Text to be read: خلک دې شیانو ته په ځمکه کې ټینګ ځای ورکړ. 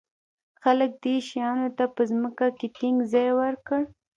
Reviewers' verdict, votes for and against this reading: rejected, 1, 2